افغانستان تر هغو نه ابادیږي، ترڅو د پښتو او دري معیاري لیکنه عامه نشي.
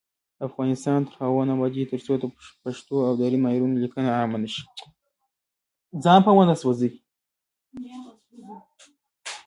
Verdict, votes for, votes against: accepted, 2, 1